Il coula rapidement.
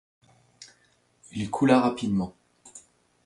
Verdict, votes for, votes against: accepted, 2, 0